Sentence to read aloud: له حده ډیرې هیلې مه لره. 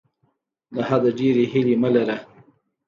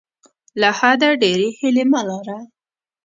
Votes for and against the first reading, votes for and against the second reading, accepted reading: 2, 0, 1, 2, first